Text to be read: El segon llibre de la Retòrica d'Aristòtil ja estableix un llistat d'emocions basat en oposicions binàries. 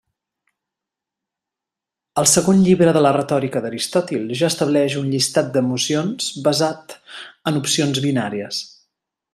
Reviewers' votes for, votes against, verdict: 0, 2, rejected